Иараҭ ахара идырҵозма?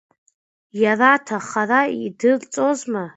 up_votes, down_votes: 2, 1